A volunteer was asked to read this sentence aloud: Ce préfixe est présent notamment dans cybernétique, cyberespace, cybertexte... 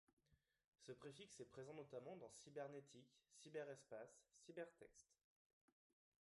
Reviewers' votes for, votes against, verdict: 0, 2, rejected